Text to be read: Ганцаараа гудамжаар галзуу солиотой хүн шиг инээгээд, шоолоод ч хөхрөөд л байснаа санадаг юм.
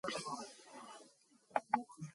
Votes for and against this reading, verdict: 0, 2, rejected